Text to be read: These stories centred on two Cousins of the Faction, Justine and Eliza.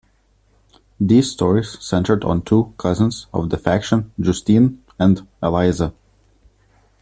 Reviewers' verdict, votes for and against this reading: accepted, 2, 0